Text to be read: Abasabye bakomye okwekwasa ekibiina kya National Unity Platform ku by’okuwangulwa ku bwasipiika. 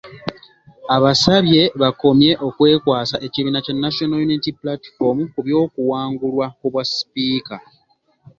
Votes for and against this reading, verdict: 2, 0, accepted